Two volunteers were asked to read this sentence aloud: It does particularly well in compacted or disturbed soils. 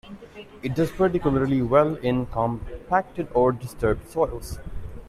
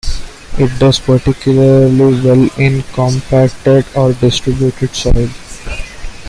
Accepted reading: first